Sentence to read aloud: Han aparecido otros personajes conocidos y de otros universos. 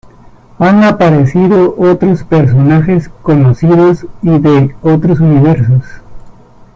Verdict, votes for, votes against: rejected, 0, 2